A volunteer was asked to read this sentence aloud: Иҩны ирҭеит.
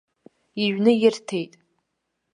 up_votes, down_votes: 2, 0